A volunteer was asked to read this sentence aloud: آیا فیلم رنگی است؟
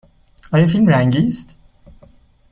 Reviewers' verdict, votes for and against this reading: accepted, 2, 0